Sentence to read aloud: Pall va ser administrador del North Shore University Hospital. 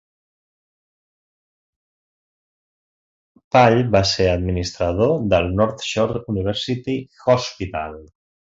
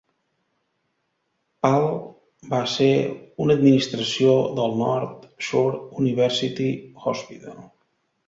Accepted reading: first